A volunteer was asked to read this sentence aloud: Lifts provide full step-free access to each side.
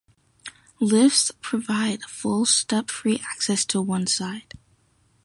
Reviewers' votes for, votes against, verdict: 0, 2, rejected